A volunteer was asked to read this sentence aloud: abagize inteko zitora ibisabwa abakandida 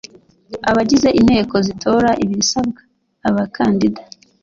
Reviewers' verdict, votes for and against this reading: accepted, 2, 0